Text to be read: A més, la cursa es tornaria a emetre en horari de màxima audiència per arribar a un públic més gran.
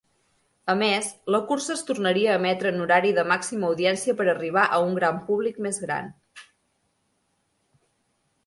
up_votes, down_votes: 1, 2